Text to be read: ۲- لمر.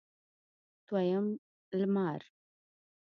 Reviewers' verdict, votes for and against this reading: rejected, 0, 2